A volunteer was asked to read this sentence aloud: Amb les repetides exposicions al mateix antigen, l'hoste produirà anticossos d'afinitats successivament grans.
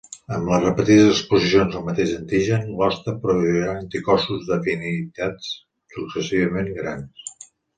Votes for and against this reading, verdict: 2, 3, rejected